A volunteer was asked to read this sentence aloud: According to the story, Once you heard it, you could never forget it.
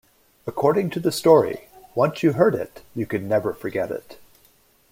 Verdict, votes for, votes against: accepted, 2, 0